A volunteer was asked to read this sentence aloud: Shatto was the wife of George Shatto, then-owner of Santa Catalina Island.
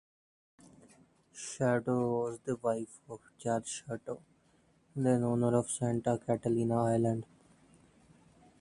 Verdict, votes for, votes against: accepted, 2, 0